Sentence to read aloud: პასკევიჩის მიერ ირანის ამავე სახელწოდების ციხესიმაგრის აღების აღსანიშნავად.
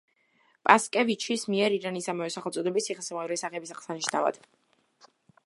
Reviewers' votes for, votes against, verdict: 2, 0, accepted